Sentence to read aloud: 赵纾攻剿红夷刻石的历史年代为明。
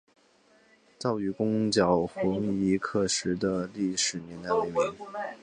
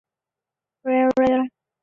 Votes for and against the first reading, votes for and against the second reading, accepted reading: 2, 1, 0, 2, first